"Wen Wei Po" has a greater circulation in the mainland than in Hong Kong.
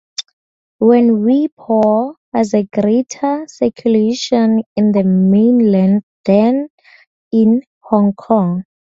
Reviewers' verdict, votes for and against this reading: rejected, 0, 2